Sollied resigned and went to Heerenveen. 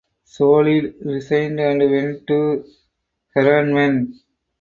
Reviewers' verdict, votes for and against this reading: rejected, 0, 4